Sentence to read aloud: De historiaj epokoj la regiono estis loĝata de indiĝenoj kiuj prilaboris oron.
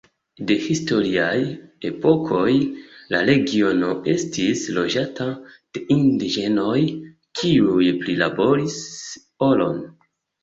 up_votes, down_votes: 2, 0